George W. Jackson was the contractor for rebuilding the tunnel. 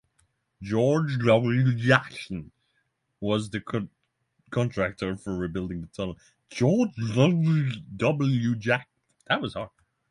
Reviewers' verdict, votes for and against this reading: rejected, 0, 3